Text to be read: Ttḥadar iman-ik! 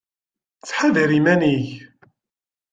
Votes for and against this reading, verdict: 2, 0, accepted